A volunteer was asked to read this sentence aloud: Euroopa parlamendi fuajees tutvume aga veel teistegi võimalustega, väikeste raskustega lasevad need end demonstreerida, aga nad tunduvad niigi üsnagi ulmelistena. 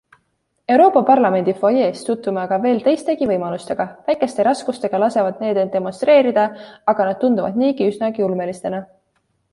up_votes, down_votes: 2, 0